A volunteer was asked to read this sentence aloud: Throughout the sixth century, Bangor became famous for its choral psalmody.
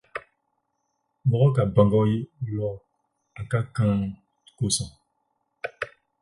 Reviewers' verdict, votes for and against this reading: rejected, 0, 8